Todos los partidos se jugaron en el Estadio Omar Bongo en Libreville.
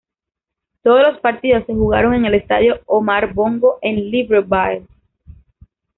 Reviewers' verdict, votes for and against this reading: rejected, 1, 2